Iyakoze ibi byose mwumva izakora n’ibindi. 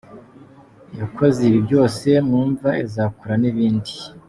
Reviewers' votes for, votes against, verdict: 2, 0, accepted